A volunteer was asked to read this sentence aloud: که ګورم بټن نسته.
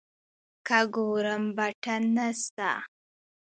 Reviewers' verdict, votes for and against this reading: accepted, 2, 0